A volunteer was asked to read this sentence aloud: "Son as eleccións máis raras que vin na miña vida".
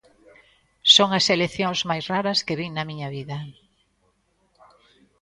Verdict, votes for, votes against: rejected, 1, 2